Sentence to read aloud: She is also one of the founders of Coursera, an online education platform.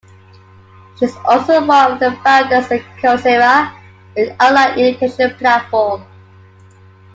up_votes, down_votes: 1, 2